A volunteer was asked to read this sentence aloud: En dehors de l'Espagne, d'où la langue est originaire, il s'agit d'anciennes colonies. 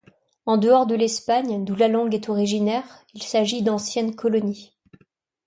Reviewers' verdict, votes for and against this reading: accepted, 2, 0